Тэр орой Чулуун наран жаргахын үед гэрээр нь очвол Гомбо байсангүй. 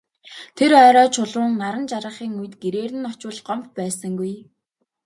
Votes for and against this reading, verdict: 2, 1, accepted